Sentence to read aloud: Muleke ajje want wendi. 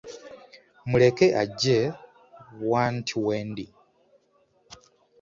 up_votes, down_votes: 2, 0